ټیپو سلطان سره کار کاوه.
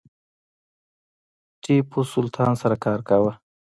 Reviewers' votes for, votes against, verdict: 0, 2, rejected